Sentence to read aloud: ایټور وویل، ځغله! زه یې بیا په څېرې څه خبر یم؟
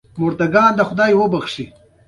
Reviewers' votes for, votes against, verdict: 0, 2, rejected